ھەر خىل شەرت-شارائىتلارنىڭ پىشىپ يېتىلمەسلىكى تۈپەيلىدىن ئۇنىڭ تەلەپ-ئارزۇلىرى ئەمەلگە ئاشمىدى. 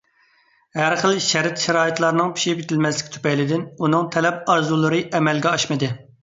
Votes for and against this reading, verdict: 2, 0, accepted